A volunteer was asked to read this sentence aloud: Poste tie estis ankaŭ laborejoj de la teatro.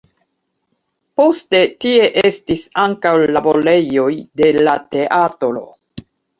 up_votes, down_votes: 1, 2